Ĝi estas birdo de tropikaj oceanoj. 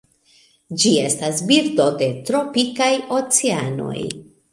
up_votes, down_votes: 1, 2